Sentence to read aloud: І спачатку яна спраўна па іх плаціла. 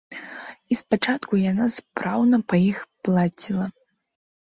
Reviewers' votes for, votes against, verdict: 1, 2, rejected